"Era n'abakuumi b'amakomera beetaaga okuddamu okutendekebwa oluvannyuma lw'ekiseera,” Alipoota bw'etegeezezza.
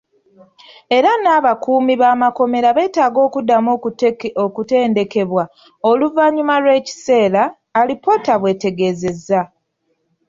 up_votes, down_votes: 1, 2